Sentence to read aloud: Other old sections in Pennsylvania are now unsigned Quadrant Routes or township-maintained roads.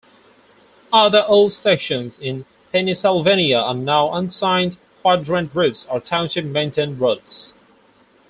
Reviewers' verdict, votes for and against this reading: rejected, 0, 4